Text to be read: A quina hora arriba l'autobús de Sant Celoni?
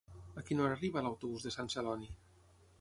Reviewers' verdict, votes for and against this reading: rejected, 0, 6